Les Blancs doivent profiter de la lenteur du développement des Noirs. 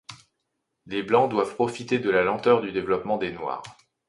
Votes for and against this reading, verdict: 2, 0, accepted